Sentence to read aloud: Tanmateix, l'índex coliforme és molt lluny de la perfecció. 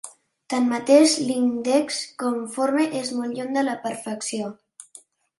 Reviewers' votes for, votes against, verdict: 0, 3, rejected